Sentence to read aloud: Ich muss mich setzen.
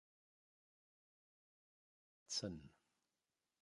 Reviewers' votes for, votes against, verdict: 0, 3, rejected